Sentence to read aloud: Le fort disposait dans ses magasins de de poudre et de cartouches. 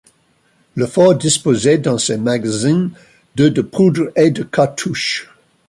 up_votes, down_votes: 1, 2